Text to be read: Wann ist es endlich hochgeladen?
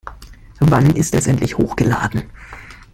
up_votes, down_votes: 1, 2